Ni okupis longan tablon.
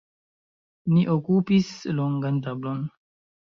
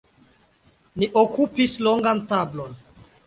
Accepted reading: second